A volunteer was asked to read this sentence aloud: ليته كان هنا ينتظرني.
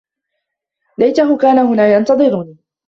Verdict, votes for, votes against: accepted, 2, 1